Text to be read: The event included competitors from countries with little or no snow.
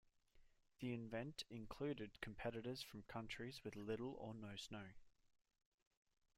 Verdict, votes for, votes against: rejected, 0, 2